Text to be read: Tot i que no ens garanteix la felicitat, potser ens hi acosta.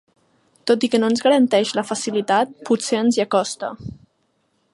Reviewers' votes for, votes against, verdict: 0, 2, rejected